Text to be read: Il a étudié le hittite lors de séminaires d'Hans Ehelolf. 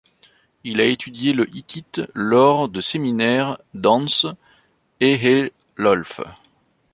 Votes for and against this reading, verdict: 2, 1, accepted